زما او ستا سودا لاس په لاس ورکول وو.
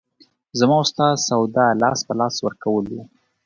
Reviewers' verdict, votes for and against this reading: accepted, 2, 0